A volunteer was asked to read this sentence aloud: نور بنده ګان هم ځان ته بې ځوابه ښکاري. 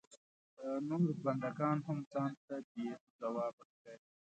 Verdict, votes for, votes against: rejected, 1, 2